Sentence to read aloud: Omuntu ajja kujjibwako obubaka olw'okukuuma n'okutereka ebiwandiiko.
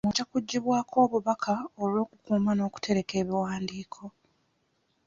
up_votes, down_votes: 0, 2